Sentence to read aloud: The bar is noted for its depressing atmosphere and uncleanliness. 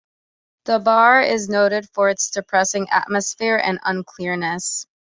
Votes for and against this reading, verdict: 0, 2, rejected